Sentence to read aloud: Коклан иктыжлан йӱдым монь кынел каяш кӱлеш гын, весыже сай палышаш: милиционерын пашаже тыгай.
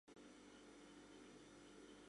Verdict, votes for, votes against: rejected, 1, 2